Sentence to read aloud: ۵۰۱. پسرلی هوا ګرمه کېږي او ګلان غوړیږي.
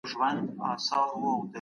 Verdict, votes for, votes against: rejected, 0, 2